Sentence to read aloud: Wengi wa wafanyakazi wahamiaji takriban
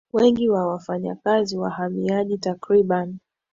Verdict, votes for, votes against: accepted, 2, 0